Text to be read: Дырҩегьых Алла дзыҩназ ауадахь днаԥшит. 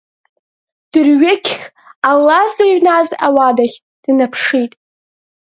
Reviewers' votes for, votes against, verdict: 3, 2, accepted